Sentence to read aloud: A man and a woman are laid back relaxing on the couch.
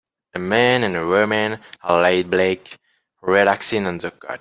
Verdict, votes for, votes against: rejected, 0, 2